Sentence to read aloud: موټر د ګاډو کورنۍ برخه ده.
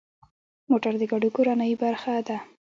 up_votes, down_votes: 0, 2